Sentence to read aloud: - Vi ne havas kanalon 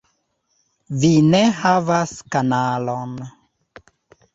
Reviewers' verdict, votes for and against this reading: accepted, 2, 0